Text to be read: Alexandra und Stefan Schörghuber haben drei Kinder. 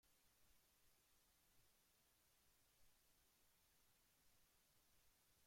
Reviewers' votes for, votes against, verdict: 0, 2, rejected